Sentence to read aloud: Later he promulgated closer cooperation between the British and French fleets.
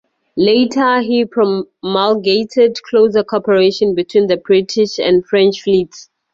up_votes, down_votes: 2, 2